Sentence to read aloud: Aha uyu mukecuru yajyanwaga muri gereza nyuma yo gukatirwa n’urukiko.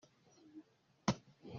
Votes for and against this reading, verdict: 0, 3, rejected